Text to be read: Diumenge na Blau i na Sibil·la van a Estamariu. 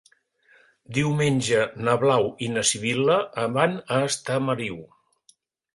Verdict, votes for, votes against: rejected, 0, 2